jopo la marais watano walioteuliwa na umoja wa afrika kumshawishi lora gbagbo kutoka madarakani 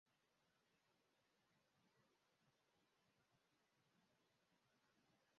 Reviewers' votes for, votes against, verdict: 0, 2, rejected